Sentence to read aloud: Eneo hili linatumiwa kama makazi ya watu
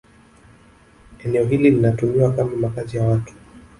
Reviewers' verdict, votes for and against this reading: rejected, 1, 2